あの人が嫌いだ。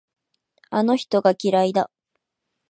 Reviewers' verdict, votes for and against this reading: rejected, 2, 2